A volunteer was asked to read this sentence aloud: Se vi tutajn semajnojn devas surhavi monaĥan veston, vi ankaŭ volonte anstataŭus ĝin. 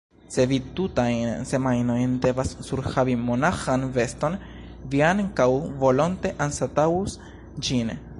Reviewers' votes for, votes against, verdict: 1, 2, rejected